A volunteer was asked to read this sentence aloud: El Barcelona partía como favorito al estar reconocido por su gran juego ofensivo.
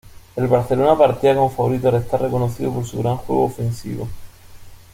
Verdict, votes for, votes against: accepted, 2, 0